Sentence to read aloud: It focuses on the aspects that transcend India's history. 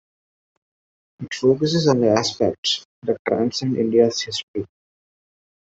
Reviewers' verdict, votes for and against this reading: accepted, 2, 0